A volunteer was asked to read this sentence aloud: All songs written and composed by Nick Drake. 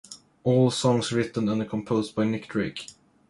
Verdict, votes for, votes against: accepted, 2, 0